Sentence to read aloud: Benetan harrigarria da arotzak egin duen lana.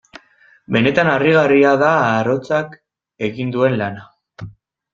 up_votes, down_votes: 0, 2